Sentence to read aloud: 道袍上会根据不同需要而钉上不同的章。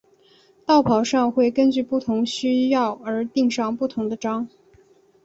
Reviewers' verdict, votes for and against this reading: accepted, 3, 0